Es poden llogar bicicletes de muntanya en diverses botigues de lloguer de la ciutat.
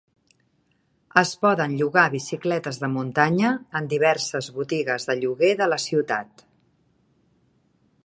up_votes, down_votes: 3, 0